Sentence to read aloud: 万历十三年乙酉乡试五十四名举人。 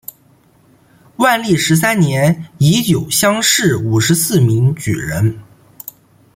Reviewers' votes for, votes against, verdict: 2, 0, accepted